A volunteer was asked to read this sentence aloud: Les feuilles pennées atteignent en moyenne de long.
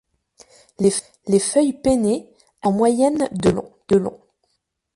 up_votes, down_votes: 0, 2